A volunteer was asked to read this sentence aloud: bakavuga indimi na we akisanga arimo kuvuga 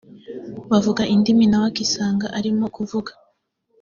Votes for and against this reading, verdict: 2, 1, accepted